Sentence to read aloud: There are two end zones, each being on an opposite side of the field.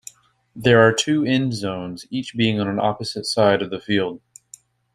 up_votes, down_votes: 2, 0